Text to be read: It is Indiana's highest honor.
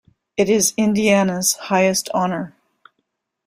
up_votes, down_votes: 2, 0